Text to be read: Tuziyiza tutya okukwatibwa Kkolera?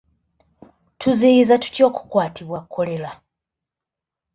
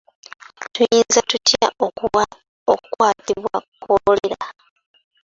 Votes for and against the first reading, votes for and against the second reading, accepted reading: 2, 0, 0, 2, first